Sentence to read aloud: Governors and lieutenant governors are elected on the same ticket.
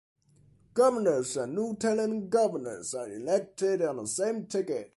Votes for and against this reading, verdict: 2, 0, accepted